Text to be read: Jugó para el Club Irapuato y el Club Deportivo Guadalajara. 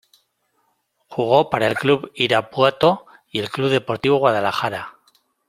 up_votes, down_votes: 2, 0